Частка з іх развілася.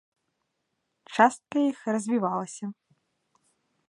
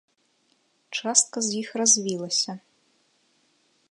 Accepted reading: second